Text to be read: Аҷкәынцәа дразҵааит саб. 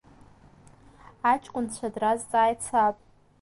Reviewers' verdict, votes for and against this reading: accepted, 2, 0